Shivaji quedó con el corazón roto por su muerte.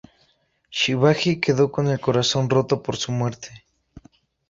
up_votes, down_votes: 2, 0